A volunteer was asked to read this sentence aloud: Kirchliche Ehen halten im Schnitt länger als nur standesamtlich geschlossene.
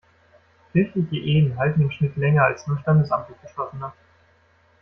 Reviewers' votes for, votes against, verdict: 1, 2, rejected